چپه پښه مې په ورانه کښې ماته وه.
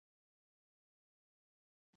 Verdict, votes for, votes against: accepted, 2, 0